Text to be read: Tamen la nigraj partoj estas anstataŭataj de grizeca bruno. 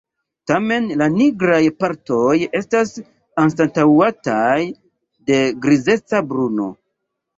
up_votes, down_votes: 2, 0